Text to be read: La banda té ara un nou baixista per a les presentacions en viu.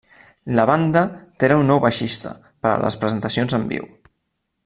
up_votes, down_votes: 0, 2